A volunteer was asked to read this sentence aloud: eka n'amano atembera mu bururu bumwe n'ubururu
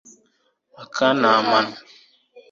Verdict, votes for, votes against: rejected, 1, 3